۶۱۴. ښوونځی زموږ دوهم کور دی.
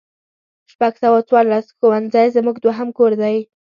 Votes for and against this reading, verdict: 0, 2, rejected